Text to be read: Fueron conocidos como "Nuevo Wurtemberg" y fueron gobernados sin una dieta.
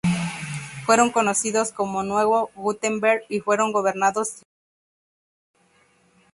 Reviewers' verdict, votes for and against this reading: rejected, 0, 2